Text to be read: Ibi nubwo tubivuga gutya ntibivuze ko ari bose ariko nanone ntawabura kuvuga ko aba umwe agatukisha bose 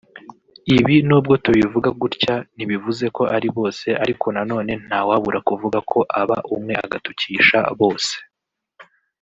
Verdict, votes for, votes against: accepted, 2, 0